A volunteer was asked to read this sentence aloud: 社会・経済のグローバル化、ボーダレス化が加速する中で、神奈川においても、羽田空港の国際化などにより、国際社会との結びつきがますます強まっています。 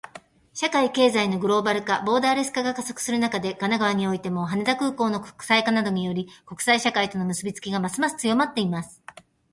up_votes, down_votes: 2, 0